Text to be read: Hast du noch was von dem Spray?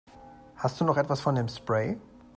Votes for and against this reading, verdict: 0, 2, rejected